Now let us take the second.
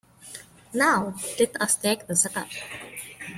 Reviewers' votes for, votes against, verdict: 1, 2, rejected